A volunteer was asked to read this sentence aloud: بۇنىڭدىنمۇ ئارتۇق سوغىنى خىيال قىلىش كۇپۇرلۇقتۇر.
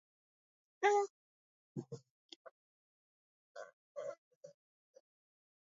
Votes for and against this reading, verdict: 0, 2, rejected